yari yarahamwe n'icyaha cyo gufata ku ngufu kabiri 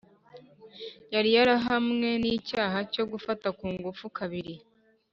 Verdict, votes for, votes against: accepted, 3, 0